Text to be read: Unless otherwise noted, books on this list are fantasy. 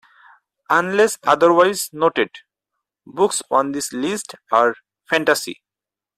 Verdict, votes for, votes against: accepted, 4, 0